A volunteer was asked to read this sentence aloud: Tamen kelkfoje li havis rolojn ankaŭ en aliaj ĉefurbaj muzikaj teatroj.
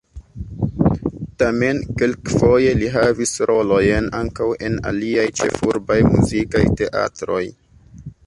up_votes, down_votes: 2, 0